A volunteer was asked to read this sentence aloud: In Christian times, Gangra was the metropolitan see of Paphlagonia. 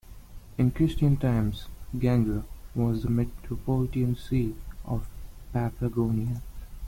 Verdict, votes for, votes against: accepted, 2, 0